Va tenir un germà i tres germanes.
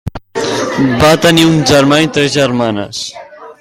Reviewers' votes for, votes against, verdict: 4, 0, accepted